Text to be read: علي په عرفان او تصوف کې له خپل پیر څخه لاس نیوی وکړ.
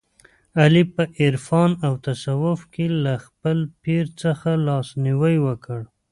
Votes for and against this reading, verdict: 2, 0, accepted